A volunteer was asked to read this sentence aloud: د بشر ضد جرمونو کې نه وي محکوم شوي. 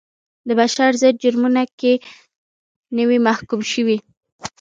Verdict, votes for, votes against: rejected, 0, 2